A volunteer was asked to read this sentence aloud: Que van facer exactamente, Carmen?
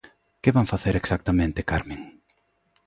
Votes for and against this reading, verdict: 2, 0, accepted